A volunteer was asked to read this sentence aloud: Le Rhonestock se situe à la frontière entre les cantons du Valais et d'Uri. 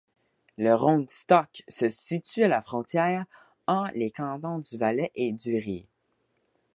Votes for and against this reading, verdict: 0, 2, rejected